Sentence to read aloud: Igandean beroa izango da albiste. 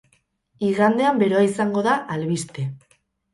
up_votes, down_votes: 2, 2